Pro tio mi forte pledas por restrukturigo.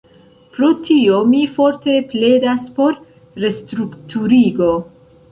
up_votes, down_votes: 1, 2